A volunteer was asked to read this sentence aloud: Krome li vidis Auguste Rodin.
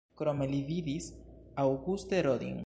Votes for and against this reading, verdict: 1, 2, rejected